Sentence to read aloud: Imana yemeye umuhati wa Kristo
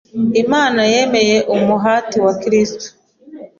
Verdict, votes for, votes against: accepted, 2, 0